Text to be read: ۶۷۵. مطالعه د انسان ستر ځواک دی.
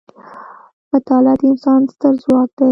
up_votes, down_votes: 0, 2